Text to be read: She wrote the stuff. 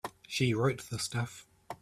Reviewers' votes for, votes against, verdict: 2, 0, accepted